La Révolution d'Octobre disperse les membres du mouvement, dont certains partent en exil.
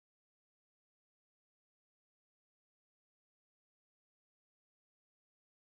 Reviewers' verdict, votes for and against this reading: rejected, 0, 2